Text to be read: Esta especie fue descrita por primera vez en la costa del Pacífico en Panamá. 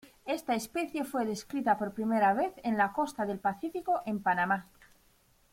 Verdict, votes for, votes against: accepted, 2, 0